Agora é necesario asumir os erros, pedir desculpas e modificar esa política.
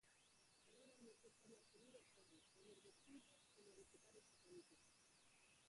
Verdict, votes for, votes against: rejected, 0, 4